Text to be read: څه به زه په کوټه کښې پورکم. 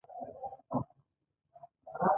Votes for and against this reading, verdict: 1, 2, rejected